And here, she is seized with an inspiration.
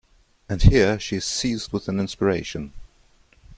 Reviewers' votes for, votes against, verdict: 2, 0, accepted